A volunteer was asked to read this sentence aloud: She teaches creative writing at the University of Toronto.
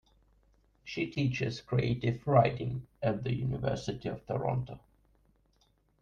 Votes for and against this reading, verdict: 0, 2, rejected